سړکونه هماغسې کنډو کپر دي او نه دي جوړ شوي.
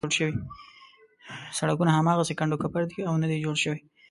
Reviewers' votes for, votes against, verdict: 1, 2, rejected